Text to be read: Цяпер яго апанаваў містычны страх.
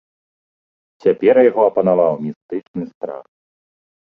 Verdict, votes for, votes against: accepted, 3, 0